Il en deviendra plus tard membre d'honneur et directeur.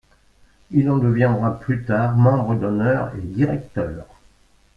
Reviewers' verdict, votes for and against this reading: accepted, 3, 1